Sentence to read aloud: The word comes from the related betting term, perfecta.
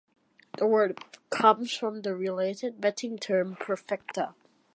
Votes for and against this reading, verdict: 2, 0, accepted